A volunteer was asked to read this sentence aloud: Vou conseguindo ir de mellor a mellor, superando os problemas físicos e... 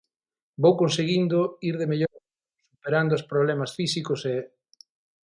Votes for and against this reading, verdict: 0, 3, rejected